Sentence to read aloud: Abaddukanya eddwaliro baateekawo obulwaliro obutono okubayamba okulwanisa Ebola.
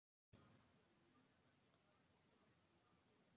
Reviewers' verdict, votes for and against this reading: rejected, 0, 2